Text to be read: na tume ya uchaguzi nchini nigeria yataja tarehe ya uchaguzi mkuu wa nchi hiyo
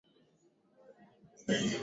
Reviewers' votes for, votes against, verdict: 0, 2, rejected